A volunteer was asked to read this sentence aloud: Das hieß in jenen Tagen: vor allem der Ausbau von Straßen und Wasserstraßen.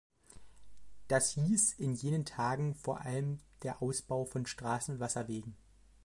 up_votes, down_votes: 0, 2